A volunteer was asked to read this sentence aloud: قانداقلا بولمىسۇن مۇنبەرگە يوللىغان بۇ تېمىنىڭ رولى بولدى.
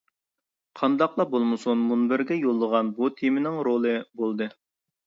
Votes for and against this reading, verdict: 2, 0, accepted